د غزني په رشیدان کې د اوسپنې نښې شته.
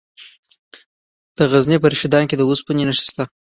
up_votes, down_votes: 1, 2